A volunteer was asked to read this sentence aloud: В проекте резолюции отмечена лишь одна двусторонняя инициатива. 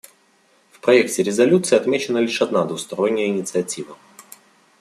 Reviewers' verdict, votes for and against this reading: accepted, 2, 0